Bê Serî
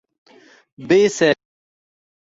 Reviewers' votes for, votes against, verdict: 1, 2, rejected